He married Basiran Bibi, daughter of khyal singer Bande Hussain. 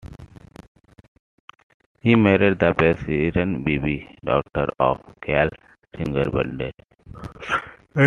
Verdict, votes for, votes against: rejected, 1, 2